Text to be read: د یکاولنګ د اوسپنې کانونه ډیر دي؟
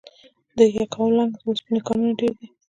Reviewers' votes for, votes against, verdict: 2, 1, accepted